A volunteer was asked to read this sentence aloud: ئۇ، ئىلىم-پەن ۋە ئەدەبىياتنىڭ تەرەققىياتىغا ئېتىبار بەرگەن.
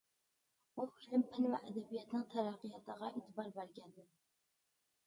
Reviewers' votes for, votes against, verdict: 1, 2, rejected